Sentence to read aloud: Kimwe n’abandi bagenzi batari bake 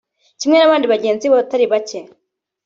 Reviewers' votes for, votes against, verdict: 0, 2, rejected